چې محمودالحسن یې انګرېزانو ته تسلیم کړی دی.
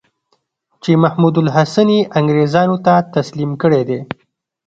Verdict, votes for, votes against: accepted, 3, 0